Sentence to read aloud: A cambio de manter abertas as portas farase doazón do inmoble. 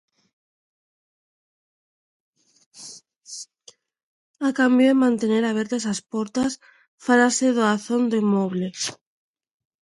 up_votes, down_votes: 0, 2